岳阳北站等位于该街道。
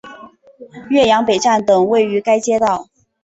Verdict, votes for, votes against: accepted, 2, 0